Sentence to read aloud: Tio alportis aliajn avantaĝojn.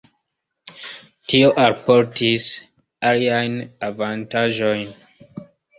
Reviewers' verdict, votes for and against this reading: rejected, 1, 2